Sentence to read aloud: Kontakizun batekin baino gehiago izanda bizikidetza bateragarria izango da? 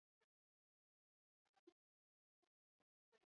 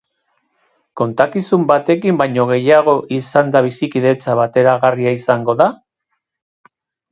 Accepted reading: second